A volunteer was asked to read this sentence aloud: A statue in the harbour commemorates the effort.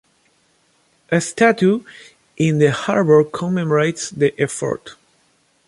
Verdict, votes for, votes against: accepted, 2, 0